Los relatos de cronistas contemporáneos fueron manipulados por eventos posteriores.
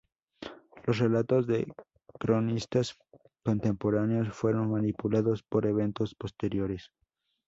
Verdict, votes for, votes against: rejected, 0, 2